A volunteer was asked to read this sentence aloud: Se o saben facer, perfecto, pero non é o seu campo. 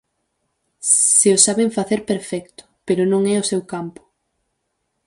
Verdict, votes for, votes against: accepted, 4, 2